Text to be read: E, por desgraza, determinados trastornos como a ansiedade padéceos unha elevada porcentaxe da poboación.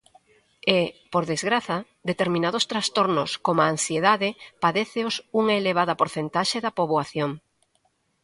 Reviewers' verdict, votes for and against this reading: accepted, 2, 0